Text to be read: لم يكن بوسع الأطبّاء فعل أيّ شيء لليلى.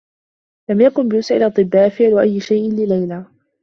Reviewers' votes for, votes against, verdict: 2, 0, accepted